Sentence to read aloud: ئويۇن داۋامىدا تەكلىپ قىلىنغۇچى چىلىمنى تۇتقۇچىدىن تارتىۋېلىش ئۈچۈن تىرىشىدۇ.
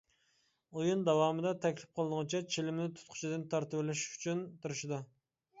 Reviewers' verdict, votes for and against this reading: rejected, 0, 2